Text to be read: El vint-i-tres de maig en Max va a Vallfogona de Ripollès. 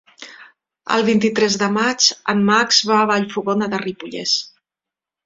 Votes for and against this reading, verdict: 3, 0, accepted